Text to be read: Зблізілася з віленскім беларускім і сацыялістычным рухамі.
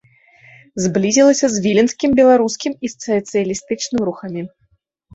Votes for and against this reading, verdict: 0, 2, rejected